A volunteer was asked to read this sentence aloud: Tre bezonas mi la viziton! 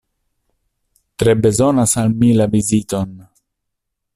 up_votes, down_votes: 1, 2